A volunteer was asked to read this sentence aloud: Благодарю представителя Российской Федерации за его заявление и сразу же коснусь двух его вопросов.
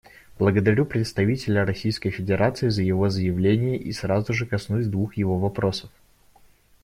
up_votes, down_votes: 1, 2